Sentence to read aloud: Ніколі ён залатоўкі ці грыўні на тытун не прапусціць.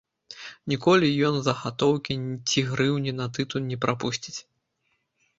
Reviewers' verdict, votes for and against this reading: rejected, 0, 2